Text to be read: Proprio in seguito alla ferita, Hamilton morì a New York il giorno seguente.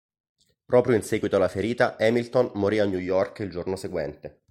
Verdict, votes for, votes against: accepted, 2, 0